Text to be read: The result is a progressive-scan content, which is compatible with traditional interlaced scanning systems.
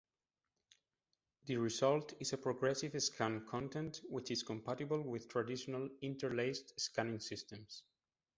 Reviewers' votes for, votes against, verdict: 2, 0, accepted